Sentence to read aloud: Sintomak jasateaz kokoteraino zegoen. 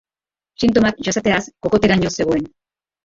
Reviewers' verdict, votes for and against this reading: accepted, 2, 1